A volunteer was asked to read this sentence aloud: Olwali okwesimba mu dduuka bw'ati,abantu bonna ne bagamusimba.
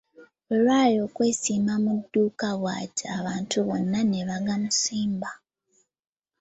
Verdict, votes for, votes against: accepted, 3, 0